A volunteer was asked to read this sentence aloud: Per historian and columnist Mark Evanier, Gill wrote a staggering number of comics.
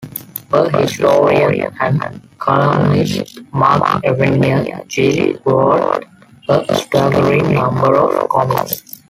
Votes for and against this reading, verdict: 0, 2, rejected